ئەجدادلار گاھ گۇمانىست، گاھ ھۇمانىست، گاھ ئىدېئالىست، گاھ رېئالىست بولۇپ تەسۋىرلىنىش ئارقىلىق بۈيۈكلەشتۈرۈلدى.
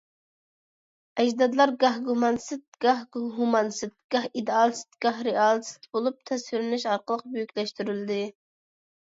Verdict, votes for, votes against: rejected, 1, 2